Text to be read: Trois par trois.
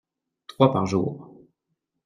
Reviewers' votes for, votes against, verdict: 0, 2, rejected